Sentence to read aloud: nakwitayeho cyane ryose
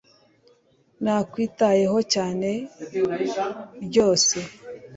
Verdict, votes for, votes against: accepted, 2, 0